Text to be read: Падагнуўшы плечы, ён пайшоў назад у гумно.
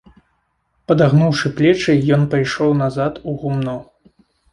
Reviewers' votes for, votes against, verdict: 2, 0, accepted